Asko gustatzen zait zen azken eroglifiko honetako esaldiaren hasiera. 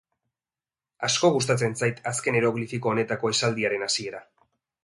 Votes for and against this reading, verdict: 4, 1, accepted